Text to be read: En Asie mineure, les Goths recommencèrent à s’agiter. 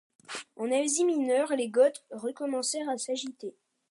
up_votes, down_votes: 2, 0